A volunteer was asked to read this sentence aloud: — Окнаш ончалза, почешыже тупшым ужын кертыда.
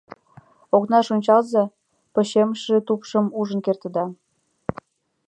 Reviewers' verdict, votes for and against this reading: rejected, 0, 2